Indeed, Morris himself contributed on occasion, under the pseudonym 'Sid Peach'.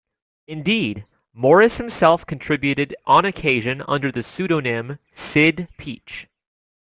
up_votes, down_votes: 2, 0